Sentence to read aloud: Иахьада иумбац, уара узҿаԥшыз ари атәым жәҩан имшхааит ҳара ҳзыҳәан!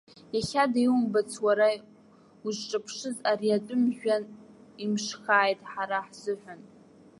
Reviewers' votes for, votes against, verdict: 2, 0, accepted